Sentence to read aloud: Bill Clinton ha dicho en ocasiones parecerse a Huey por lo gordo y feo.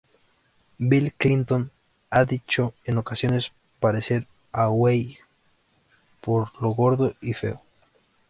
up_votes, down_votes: 0, 2